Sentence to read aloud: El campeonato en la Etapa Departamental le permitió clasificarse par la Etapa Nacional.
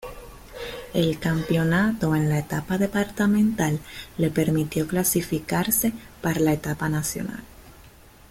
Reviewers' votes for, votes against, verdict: 2, 1, accepted